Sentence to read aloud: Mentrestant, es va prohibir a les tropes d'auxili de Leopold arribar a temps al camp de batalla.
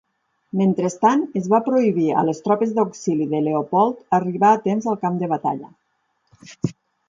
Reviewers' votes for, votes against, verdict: 8, 0, accepted